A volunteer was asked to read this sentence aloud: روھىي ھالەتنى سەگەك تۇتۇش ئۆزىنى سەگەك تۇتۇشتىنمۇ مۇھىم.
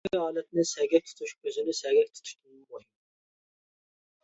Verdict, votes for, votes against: rejected, 0, 2